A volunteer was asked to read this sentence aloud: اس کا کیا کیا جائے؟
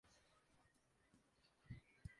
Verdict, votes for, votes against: rejected, 0, 2